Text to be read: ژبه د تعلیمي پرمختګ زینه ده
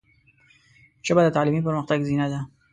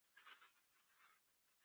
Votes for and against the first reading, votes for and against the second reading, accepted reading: 3, 0, 0, 2, first